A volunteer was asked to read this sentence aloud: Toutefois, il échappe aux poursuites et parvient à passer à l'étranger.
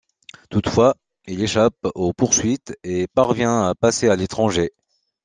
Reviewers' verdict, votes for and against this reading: accepted, 2, 0